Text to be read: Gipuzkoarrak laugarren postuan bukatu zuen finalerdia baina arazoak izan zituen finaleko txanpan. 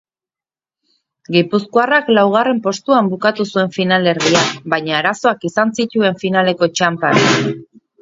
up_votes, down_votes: 2, 2